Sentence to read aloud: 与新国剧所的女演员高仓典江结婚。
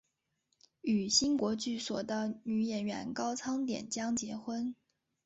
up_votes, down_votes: 4, 0